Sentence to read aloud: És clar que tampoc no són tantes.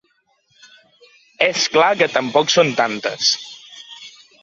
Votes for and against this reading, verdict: 1, 2, rejected